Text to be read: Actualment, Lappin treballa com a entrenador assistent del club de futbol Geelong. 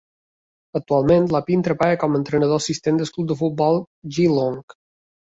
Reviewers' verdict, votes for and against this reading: accepted, 3, 1